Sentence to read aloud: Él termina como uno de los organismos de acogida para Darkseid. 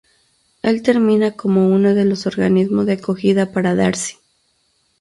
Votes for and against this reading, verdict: 2, 2, rejected